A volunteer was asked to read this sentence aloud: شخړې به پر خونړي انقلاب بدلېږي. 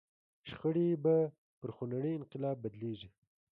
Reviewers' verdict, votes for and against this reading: accepted, 2, 0